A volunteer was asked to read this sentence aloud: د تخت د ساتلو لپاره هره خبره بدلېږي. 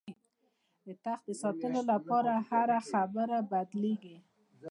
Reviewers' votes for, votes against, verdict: 2, 0, accepted